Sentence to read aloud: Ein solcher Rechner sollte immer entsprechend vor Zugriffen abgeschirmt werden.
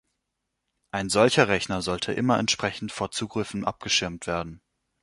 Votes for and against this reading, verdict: 2, 0, accepted